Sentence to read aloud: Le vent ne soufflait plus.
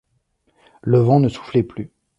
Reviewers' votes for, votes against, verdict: 2, 0, accepted